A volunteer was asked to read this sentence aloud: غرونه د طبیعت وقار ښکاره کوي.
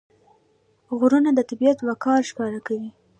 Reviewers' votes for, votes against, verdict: 1, 2, rejected